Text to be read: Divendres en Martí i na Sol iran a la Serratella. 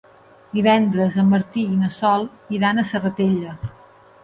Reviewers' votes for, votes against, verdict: 1, 2, rejected